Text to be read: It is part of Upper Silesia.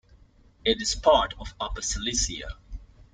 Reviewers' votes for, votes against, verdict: 1, 2, rejected